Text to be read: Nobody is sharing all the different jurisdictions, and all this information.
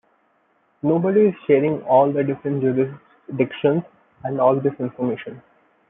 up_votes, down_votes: 0, 2